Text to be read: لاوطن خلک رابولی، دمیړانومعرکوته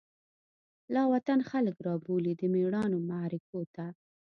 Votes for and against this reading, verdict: 2, 0, accepted